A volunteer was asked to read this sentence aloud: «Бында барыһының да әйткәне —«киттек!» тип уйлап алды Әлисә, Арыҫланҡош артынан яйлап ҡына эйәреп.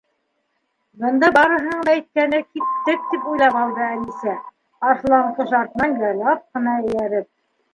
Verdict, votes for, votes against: accepted, 2, 1